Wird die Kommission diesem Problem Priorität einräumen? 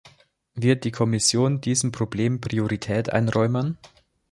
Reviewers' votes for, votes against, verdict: 2, 0, accepted